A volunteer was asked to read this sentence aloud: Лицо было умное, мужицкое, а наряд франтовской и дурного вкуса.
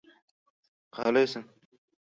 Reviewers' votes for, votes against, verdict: 0, 2, rejected